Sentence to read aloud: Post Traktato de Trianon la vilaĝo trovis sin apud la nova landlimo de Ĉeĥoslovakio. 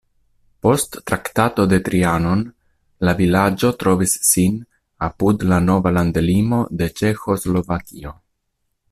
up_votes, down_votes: 2, 0